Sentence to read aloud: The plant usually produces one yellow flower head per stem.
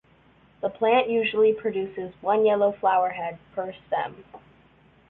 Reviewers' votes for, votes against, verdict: 2, 1, accepted